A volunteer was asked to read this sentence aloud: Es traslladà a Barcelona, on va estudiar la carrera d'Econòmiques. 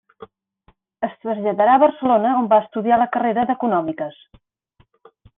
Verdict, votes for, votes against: rejected, 1, 2